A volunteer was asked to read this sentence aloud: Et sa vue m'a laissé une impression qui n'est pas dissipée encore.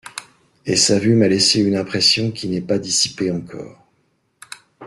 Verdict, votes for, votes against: accepted, 2, 0